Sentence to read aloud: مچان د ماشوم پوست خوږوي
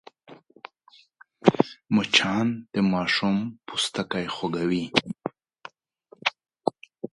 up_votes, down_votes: 1, 2